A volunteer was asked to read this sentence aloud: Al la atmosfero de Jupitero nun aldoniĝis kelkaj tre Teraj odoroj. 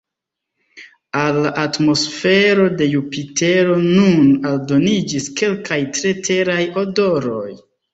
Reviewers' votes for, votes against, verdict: 1, 2, rejected